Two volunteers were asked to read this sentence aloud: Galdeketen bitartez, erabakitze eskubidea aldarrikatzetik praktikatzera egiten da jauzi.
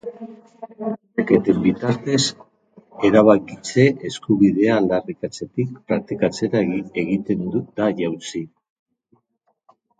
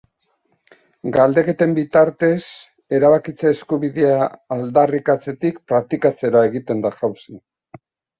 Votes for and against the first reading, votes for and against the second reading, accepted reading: 2, 2, 2, 0, second